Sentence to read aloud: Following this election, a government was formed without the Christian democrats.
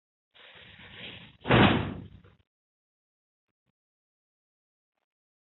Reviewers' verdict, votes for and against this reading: rejected, 0, 2